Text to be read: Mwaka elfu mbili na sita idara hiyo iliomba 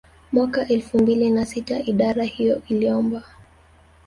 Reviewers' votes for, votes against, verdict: 2, 1, accepted